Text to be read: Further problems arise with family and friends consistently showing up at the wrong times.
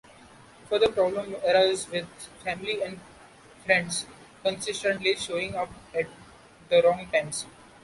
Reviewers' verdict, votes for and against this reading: rejected, 0, 2